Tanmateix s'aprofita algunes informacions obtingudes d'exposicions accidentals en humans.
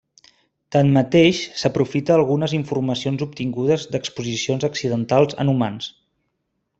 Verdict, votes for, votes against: accepted, 3, 0